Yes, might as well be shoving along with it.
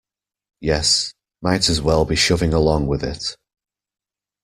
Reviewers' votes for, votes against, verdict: 2, 1, accepted